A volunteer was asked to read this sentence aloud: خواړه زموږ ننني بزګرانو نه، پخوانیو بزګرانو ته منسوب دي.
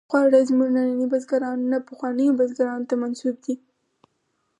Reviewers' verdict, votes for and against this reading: accepted, 4, 2